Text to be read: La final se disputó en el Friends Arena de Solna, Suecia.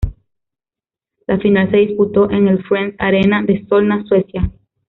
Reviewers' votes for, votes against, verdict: 0, 2, rejected